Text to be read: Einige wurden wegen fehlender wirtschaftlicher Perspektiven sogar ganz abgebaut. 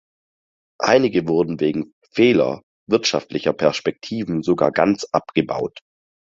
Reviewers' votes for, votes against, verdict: 0, 4, rejected